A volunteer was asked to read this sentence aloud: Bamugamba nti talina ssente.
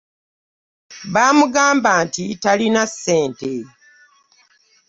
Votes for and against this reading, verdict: 1, 2, rejected